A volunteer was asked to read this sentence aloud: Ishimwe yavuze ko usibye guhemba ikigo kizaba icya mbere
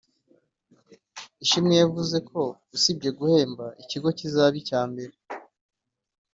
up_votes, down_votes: 2, 0